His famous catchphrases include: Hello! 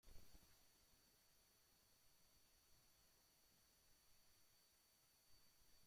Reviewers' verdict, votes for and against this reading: rejected, 0, 2